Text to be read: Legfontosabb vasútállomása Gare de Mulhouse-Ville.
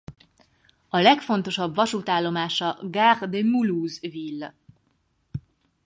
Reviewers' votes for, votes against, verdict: 2, 4, rejected